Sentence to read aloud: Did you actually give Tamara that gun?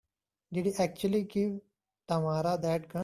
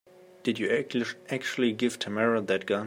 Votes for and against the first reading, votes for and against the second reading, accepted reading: 2, 0, 1, 2, first